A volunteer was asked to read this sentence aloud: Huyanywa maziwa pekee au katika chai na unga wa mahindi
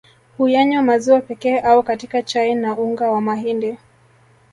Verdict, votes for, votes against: accepted, 3, 1